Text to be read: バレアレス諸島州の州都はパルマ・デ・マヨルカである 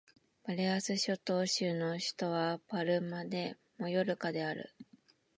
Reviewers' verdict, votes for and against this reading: rejected, 1, 2